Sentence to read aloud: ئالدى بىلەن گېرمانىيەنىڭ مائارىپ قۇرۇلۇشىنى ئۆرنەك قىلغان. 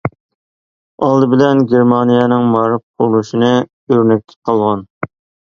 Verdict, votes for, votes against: rejected, 0, 2